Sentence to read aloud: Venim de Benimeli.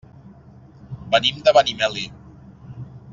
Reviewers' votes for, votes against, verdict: 3, 1, accepted